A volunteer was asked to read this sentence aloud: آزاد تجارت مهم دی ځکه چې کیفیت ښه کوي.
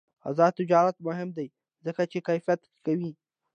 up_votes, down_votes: 2, 0